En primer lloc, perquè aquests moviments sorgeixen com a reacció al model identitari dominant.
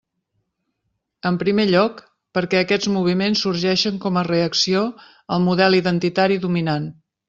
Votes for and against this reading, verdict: 3, 0, accepted